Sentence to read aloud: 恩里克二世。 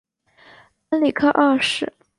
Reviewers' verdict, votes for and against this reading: accepted, 2, 0